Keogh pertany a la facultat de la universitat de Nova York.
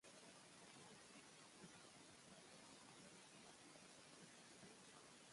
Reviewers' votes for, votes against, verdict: 0, 2, rejected